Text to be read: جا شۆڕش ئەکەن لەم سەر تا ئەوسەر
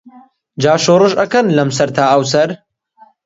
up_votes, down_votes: 2, 0